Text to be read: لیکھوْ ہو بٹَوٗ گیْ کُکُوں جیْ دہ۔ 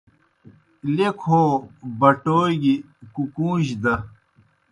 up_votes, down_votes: 2, 0